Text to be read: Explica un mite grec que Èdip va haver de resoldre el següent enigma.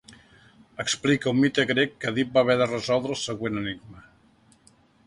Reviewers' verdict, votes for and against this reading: accepted, 2, 0